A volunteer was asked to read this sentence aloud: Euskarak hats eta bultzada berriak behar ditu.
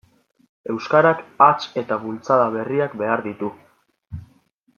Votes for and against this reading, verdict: 2, 0, accepted